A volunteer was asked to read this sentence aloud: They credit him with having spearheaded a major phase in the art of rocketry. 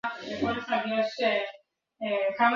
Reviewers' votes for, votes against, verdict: 0, 2, rejected